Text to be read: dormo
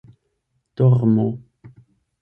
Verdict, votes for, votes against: accepted, 8, 0